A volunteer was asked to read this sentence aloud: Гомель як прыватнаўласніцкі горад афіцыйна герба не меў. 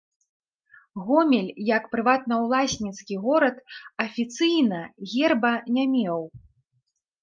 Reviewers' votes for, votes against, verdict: 3, 0, accepted